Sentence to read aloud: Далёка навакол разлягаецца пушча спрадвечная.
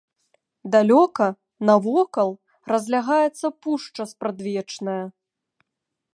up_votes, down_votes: 2, 0